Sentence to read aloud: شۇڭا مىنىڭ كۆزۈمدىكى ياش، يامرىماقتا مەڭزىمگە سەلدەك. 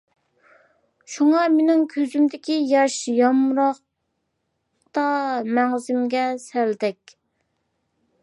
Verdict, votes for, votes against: rejected, 0, 2